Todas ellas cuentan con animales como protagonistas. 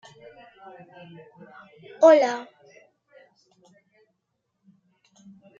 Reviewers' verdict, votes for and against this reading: rejected, 0, 2